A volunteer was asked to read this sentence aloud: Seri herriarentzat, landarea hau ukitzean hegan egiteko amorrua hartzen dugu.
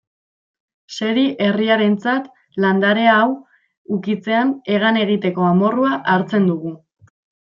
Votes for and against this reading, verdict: 2, 0, accepted